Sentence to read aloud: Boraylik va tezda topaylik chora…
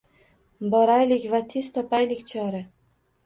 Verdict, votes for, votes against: rejected, 1, 2